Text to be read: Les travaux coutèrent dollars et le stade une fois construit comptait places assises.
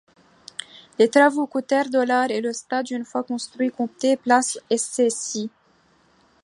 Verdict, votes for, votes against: rejected, 1, 2